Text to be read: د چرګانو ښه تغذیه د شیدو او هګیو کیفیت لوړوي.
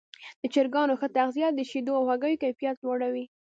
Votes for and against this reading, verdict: 2, 0, accepted